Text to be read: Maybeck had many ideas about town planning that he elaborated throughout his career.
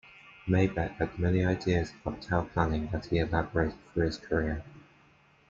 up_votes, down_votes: 1, 2